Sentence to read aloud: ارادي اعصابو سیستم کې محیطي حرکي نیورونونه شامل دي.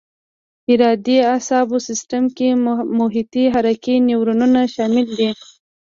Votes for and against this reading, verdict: 2, 0, accepted